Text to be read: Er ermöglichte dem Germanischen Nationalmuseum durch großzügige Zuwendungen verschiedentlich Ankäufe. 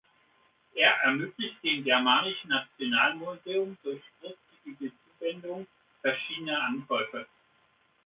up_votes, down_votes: 0, 2